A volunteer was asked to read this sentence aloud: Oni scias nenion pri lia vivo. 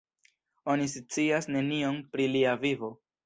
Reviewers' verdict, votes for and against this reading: rejected, 1, 2